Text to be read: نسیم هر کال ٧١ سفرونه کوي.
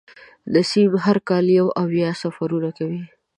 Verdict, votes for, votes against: rejected, 0, 2